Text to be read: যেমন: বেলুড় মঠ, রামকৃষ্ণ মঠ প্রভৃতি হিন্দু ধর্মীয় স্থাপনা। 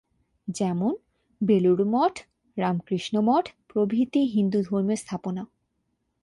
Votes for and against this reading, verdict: 2, 0, accepted